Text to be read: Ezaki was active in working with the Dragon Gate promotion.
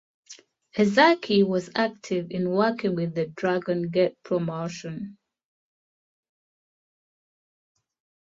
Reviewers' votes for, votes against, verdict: 2, 0, accepted